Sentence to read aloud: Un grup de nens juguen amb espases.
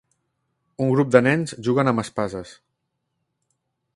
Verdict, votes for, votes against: accepted, 3, 0